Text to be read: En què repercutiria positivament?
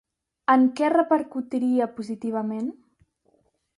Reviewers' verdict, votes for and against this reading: accepted, 2, 0